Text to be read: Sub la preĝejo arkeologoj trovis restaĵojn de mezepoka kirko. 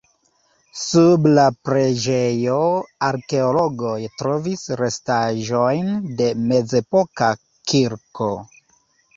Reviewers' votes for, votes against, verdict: 2, 0, accepted